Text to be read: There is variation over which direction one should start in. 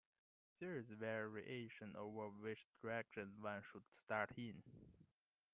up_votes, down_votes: 2, 0